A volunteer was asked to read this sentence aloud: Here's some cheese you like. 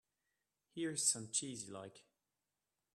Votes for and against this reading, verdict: 2, 0, accepted